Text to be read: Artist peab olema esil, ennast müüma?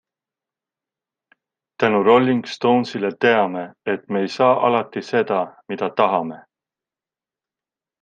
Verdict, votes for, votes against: rejected, 0, 2